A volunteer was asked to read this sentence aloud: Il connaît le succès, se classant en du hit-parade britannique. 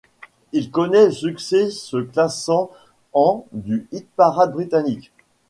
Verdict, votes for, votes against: rejected, 0, 2